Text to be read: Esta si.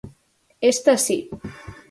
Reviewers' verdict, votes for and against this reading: accepted, 4, 0